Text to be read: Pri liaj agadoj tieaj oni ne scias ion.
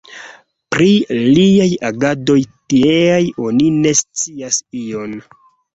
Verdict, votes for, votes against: accepted, 2, 1